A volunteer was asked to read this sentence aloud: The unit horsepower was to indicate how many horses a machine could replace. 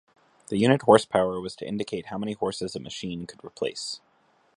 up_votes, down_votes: 2, 0